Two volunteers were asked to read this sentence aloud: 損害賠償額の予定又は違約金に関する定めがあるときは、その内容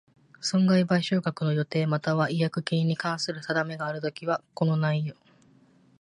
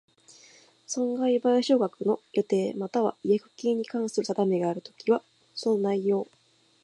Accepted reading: second